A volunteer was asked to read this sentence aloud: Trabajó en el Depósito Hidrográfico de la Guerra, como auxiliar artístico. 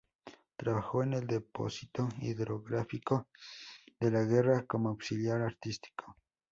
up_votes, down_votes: 2, 0